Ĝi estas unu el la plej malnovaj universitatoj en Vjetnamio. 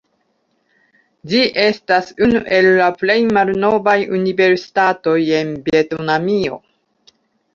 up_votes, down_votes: 0, 2